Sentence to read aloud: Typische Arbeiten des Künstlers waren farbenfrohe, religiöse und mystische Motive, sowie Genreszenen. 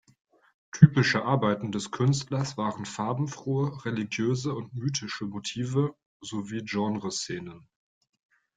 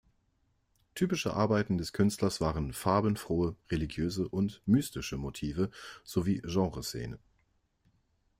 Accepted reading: second